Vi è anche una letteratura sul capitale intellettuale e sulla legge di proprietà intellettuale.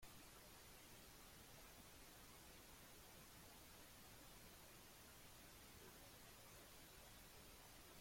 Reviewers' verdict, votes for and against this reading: rejected, 0, 3